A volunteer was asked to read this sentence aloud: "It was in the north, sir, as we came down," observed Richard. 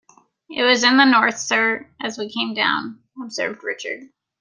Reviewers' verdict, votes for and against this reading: accepted, 2, 0